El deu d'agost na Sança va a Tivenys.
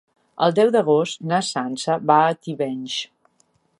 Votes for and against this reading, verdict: 3, 0, accepted